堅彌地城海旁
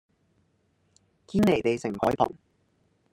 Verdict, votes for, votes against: accepted, 2, 0